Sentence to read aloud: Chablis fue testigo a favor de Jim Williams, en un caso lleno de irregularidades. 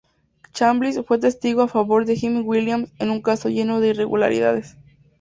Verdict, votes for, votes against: accepted, 2, 0